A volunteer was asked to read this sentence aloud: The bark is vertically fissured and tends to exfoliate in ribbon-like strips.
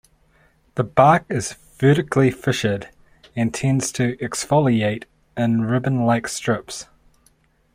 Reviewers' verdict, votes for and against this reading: rejected, 1, 2